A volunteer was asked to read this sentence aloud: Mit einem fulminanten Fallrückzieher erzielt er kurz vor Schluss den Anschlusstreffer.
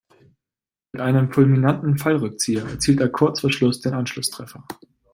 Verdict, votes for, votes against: accepted, 2, 0